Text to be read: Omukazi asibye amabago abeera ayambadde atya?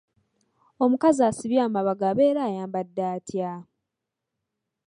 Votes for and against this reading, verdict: 2, 0, accepted